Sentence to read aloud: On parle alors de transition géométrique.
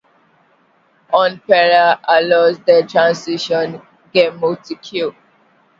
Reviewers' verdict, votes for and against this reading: rejected, 0, 2